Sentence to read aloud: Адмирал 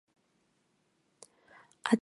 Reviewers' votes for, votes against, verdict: 1, 3, rejected